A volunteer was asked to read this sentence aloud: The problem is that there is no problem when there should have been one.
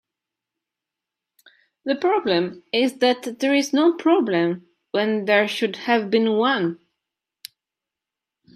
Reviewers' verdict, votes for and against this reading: accepted, 3, 0